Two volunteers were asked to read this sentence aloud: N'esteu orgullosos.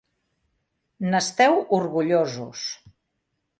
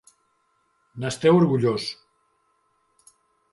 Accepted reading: first